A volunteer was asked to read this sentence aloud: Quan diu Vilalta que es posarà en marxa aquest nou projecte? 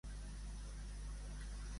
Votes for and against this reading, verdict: 0, 2, rejected